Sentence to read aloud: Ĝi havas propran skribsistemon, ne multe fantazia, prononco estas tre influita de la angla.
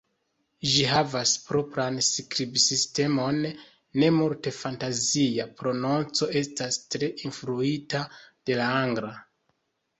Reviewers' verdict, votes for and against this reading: accepted, 2, 0